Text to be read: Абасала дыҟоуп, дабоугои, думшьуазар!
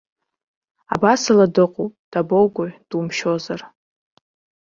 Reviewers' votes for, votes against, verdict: 1, 2, rejected